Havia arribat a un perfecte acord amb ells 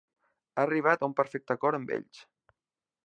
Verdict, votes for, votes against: rejected, 0, 2